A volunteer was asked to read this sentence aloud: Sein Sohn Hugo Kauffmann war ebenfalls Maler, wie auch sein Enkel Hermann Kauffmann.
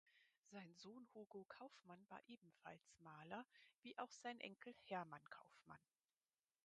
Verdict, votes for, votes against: rejected, 0, 4